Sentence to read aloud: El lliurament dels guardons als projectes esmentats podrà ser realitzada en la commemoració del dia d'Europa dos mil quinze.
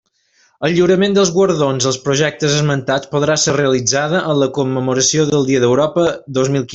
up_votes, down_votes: 0, 2